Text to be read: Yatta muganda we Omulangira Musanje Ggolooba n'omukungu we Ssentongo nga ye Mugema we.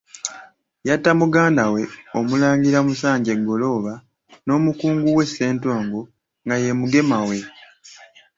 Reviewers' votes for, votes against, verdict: 2, 1, accepted